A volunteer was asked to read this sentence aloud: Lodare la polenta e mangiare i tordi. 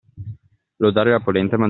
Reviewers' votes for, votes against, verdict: 0, 2, rejected